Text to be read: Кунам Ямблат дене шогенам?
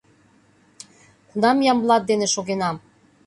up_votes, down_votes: 2, 0